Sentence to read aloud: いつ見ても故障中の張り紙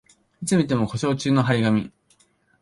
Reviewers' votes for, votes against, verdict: 2, 0, accepted